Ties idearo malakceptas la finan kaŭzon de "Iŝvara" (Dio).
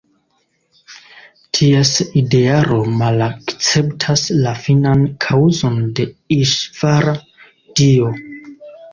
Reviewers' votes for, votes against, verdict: 1, 2, rejected